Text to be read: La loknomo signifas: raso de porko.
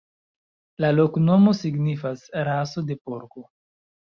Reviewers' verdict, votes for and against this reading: accepted, 2, 1